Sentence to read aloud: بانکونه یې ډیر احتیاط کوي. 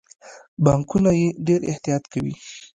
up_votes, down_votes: 2, 0